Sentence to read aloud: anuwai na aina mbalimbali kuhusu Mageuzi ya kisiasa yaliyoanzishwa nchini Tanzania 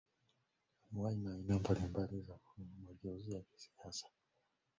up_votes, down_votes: 0, 2